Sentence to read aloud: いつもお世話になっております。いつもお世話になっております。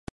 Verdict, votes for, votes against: rejected, 0, 2